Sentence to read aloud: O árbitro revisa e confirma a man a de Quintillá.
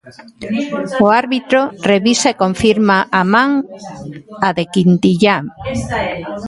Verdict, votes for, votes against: rejected, 1, 2